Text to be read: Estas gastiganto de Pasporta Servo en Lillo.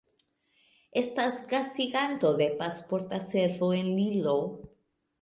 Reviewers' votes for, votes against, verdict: 2, 0, accepted